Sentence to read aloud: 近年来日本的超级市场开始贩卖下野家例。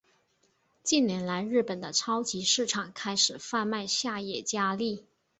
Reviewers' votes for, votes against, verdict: 3, 0, accepted